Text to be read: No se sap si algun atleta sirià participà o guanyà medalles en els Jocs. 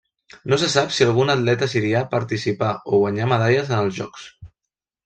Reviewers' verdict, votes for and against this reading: accepted, 2, 0